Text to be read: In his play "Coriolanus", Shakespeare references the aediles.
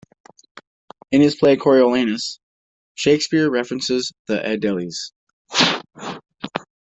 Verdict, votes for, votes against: rejected, 1, 2